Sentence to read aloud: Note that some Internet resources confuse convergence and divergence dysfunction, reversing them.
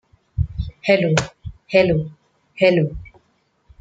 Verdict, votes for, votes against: rejected, 0, 2